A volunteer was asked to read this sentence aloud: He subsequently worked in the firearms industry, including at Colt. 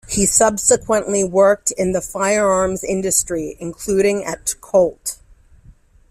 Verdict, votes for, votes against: accepted, 2, 0